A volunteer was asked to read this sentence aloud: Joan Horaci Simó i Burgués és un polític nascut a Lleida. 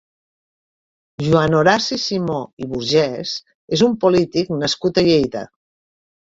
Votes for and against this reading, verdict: 0, 3, rejected